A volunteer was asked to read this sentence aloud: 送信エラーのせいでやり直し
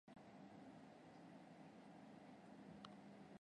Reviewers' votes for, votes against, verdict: 0, 2, rejected